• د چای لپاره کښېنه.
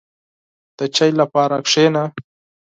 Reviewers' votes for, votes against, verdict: 6, 0, accepted